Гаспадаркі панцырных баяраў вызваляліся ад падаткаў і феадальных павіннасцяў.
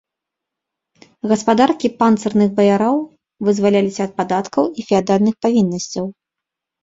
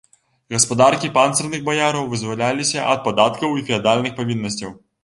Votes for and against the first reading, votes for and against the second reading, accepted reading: 0, 2, 2, 0, second